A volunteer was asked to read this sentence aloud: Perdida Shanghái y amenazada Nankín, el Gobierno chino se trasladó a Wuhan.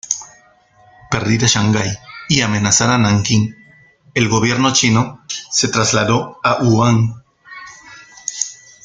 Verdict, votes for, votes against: rejected, 1, 2